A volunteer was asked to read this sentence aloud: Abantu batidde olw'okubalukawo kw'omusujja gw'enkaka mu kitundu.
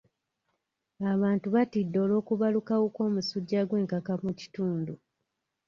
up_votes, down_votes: 2, 0